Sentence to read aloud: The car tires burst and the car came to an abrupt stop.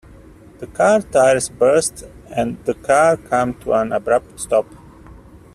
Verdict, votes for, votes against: rejected, 1, 2